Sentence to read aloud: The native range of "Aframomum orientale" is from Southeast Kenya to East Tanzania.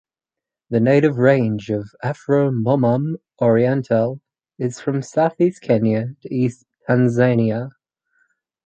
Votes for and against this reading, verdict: 4, 0, accepted